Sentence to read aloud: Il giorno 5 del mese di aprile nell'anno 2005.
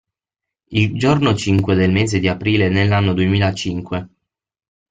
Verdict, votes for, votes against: rejected, 0, 2